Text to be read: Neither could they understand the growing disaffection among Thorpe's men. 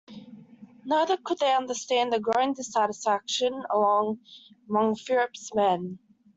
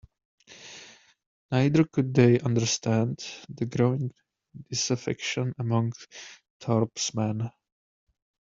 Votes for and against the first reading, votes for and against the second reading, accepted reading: 1, 2, 2, 0, second